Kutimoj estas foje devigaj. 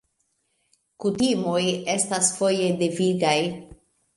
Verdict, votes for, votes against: accepted, 2, 0